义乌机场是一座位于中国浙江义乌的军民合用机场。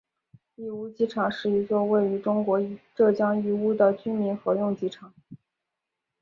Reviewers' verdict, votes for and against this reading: accepted, 6, 0